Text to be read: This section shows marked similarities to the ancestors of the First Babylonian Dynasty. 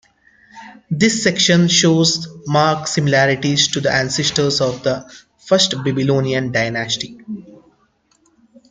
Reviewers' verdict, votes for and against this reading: accepted, 2, 1